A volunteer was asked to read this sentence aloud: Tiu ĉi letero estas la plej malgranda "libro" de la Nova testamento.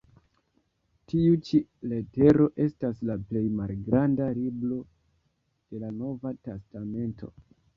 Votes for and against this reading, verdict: 1, 2, rejected